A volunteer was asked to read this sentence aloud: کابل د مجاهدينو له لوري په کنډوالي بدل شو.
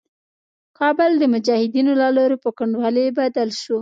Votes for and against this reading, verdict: 2, 0, accepted